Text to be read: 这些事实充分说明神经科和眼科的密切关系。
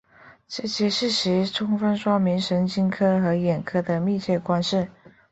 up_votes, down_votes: 5, 1